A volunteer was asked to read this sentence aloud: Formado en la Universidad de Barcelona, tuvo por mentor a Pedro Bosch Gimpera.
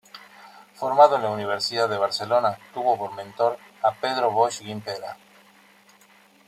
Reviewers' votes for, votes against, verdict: 2, 0, accepted